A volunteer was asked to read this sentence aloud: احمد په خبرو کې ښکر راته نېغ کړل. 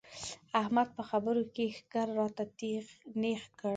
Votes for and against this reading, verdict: 0, 2, rejected